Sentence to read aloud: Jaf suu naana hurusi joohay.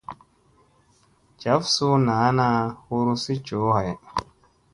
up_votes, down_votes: 2, 0